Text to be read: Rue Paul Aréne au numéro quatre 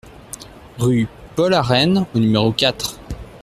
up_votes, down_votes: 2, 0